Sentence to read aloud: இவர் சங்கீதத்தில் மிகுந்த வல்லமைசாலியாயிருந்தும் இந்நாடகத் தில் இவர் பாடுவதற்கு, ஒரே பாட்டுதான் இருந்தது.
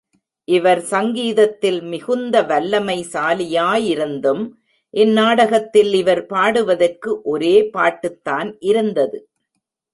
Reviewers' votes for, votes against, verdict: 2, 1, accepted